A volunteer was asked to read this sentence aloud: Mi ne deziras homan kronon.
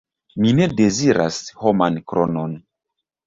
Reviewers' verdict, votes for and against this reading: accepted, 2, 0